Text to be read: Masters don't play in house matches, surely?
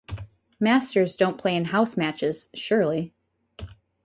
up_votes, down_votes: 4, 0